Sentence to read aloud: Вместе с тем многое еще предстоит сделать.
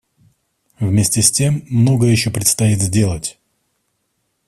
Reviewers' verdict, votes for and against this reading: accepted, 2, 0